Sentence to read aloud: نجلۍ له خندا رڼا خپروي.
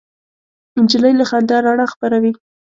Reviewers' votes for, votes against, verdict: 2, 0, accepted